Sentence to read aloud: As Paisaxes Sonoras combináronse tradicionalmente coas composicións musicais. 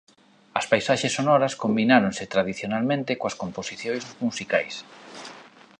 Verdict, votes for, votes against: rejected, 0, 2